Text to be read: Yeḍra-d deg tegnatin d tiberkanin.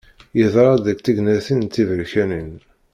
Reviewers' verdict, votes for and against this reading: accepted, 2, 0